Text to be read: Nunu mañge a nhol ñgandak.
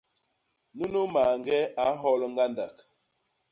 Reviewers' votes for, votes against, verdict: 2, 0, accepted